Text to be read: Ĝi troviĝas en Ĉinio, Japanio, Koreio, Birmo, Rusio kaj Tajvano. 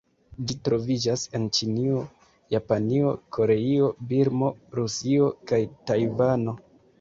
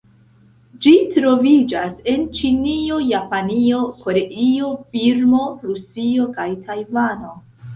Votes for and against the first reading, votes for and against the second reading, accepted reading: 2, 0, 0, 2, first